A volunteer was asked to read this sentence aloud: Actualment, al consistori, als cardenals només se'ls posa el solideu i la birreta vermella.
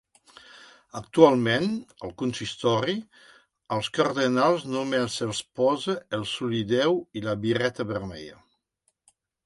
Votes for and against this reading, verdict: 2, 0, accepted